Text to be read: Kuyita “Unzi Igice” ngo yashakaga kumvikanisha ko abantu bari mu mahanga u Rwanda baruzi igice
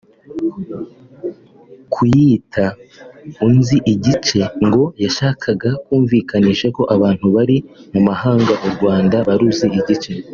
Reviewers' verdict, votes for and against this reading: accepted, 2, 0